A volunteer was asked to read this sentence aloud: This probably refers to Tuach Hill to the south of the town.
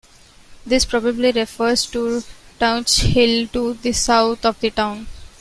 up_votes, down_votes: 2, 0